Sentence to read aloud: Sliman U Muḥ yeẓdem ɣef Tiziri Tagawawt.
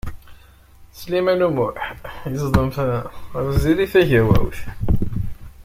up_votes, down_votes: 0, 2